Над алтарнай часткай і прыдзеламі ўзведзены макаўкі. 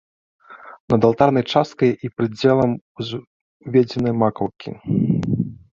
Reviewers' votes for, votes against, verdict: 1, 2, rejected